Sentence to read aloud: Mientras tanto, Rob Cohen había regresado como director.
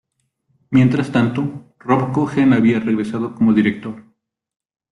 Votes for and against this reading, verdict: 2, 0, accepted